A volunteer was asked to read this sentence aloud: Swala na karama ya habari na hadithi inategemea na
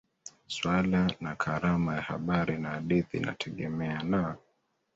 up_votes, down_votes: 2, 1